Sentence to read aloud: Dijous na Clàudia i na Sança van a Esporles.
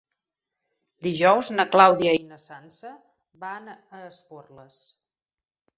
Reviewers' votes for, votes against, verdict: 1, 2, rejected